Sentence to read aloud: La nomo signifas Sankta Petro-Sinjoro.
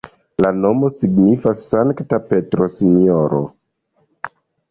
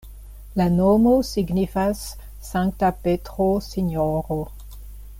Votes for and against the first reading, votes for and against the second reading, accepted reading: 1, 2, 2, 0, second